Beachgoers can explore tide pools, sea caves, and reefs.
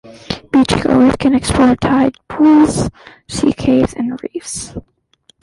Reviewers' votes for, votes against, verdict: 2, 1, accepted